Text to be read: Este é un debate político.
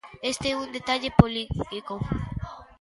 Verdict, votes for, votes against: rejected, 0, 2